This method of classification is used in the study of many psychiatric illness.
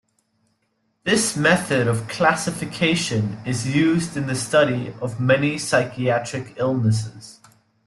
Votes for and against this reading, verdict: 1, 2, rejected